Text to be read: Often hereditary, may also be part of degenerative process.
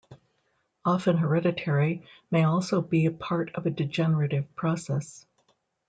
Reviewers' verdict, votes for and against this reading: rejected, 1, 2